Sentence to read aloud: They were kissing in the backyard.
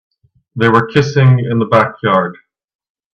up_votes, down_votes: 2, 1